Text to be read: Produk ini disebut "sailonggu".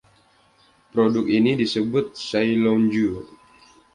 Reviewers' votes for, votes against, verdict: 2, 0, accepted